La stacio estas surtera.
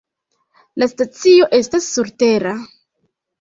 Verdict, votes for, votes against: rejected, 1, 2